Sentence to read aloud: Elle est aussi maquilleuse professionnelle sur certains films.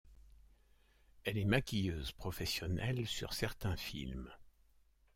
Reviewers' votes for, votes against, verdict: 1, 2, rejected